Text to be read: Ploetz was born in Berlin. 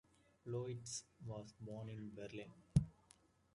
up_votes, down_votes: 2, 0